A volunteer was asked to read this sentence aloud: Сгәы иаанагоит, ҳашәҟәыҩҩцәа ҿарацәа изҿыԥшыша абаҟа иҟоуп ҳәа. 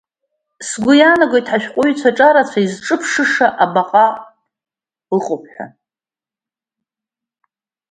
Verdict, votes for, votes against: rejected, 1, 2